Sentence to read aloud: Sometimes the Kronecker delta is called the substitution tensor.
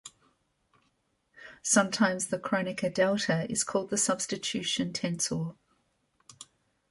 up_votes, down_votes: 2, 0